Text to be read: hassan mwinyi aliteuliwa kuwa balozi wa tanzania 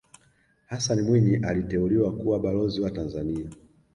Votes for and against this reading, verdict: 2, 1, accepted